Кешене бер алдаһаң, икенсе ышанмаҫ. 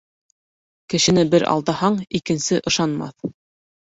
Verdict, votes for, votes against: accepted, 2, 1